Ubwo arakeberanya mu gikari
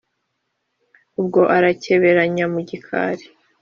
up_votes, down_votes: 3, 0